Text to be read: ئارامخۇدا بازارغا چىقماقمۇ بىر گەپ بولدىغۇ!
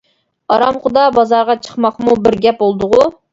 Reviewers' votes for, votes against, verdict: 2, 0, accepted